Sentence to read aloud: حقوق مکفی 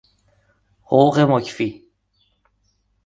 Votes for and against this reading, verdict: 2, 0, accepted